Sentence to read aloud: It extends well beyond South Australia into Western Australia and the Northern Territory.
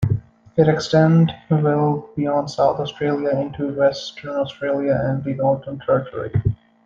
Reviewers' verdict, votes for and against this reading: rejected, 1, 2